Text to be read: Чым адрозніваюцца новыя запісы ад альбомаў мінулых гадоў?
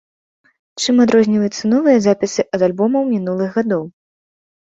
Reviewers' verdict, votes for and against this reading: rejected, 0, 2